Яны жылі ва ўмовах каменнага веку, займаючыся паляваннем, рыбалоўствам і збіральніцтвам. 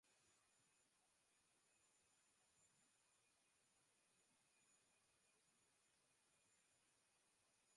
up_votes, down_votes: 0, 2